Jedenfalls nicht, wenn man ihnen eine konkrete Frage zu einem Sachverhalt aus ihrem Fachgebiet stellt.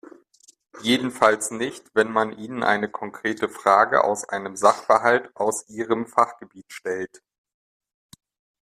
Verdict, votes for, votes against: rejected, 2, 4